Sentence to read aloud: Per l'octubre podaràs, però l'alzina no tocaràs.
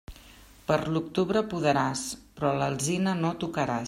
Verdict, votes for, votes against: accepted, 2, 0